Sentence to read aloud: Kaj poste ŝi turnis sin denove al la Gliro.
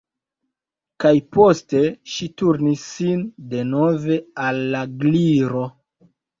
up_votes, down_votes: 1, 2